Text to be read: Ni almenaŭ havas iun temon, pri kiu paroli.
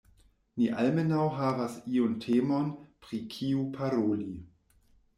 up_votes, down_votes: 2, 1